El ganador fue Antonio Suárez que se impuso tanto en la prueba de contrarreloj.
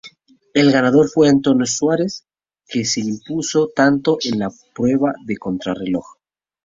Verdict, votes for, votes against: rejected, 2, 2